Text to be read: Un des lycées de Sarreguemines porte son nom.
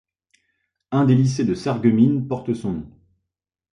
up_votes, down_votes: 2, 0